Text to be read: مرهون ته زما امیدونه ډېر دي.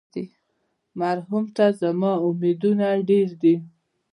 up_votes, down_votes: 0, 2